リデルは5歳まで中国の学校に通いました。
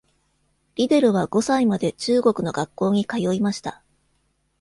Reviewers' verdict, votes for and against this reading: rejected, 0, 2